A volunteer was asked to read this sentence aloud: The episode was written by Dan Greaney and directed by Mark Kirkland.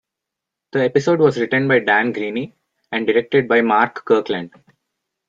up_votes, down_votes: 1, 2